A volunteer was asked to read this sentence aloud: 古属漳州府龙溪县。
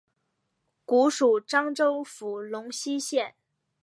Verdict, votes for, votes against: accepted, 2, 1